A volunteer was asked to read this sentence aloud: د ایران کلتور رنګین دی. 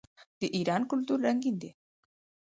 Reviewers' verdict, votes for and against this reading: rejected, 2, 4